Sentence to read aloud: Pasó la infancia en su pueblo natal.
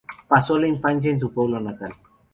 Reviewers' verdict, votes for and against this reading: accepted, 2, 0